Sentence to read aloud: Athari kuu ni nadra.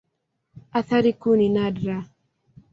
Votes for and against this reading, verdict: 2, 0, accepted